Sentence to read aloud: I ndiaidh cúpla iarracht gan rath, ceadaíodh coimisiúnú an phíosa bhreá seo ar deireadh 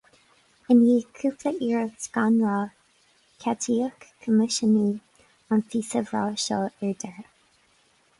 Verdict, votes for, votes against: rejected, 2, 2